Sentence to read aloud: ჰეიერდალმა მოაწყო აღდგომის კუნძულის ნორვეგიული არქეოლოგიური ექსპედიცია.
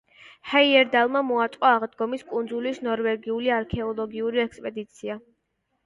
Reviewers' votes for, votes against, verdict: 1, 2, rejected